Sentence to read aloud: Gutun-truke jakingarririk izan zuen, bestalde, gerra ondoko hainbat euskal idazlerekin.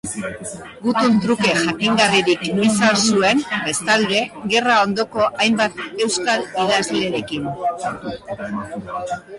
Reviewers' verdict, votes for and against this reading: accepted, 3, 2